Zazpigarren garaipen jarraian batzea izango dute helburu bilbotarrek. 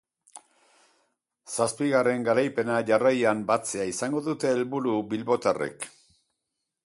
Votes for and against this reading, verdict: 4, 2, accepted